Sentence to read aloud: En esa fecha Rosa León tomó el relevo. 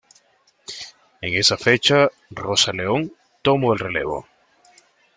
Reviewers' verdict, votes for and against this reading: rejected, 0, 2